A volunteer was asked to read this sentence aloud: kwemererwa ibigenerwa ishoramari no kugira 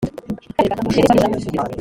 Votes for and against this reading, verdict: 0, 3, rejected